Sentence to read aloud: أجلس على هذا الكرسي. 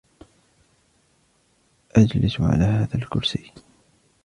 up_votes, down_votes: 0, 2